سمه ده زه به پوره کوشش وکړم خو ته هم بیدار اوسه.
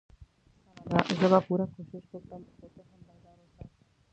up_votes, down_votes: 1, 2